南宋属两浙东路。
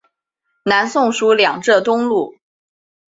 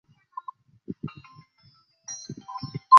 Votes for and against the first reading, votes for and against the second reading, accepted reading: 3, 0, 0, 2, first